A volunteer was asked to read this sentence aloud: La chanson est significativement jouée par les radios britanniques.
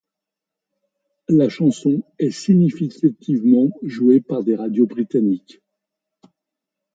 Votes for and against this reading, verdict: 1, 2, rejected